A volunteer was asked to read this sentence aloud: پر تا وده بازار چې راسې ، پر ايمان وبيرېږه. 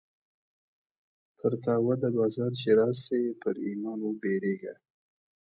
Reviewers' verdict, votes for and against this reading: rejected, 1, 2